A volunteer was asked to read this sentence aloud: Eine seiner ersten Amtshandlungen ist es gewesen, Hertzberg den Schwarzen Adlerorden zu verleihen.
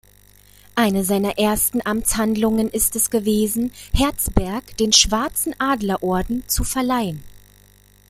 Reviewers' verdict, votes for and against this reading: accepted, 2, 0